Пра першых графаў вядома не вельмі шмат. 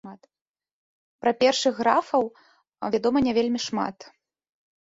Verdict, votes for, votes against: rejected, 1, 2